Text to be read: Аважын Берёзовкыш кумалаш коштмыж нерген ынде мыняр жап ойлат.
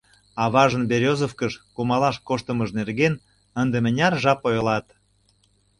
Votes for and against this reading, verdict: 1, 2, rejected